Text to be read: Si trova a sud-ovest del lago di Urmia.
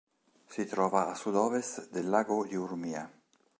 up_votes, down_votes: 1, 2